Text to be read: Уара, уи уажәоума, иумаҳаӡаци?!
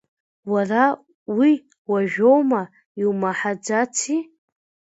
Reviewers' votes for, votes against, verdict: 2, 0, accepted